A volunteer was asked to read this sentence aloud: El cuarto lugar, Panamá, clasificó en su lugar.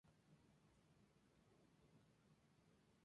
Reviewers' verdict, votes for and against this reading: rejected, 0, 2